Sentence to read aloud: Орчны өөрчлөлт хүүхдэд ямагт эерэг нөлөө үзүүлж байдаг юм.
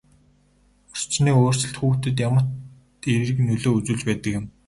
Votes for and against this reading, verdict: 2, 0, accepted